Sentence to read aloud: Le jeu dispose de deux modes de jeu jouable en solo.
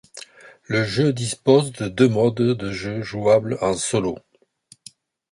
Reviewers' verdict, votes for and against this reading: accepted, 2, 0